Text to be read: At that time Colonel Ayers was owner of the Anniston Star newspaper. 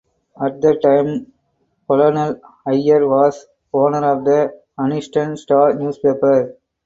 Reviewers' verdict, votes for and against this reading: accepted, 4, 0